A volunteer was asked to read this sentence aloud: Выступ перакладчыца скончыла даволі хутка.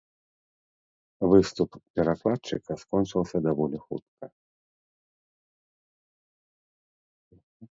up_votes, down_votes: 1, 2